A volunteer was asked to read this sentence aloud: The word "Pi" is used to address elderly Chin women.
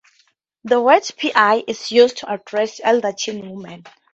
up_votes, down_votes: 0, 2